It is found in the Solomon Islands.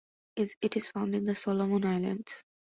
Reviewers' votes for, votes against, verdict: 2, 2, rejected